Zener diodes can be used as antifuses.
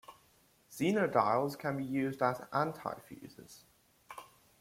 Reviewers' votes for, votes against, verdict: 2, 0, accepted